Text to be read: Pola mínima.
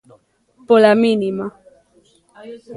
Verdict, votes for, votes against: rejected, 1, 2